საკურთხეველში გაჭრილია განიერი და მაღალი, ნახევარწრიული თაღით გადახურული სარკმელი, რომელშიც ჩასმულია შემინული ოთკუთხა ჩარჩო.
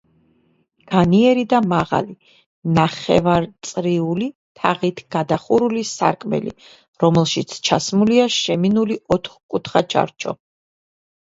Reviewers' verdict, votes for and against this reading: rejected, 1, 2